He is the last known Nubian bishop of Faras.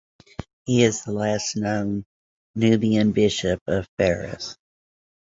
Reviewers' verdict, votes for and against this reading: accepted, 2, 1